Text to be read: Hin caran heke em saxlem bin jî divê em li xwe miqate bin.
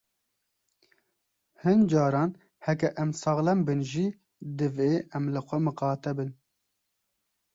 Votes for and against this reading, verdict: 3, 0, accepted